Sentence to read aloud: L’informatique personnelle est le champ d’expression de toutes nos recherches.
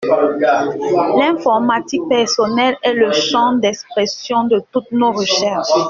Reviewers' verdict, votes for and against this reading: rejected, 0, 2